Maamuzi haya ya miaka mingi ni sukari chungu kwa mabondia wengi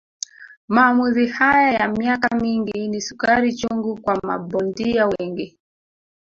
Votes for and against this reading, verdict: 1, 2, rejected